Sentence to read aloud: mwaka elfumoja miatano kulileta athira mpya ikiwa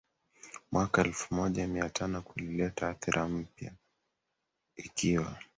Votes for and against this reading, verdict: 1, 2, rejected